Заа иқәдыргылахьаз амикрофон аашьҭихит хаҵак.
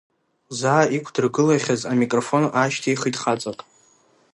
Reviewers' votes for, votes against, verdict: 2, 0, accepted